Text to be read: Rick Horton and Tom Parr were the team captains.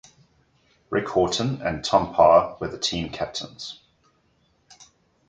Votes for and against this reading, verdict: 2, 0, accepted